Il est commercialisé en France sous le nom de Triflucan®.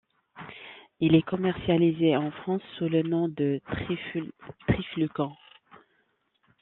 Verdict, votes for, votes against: rejected, 0, 2